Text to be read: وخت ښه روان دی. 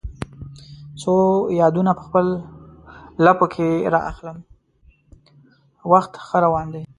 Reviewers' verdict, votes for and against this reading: rejected, 1, 2